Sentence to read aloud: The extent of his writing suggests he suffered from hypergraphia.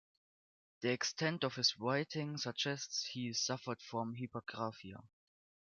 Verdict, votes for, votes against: rejected, 0, 2